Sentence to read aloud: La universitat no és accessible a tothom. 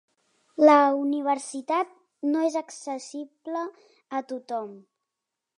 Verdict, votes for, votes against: accepted, 4, 0